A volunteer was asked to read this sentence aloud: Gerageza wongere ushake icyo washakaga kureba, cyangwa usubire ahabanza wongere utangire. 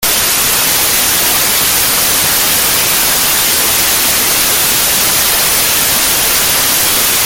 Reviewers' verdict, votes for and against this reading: rejected, 0, 2